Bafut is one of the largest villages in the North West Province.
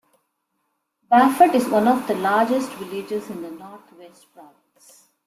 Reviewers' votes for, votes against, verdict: 2, 1, accepted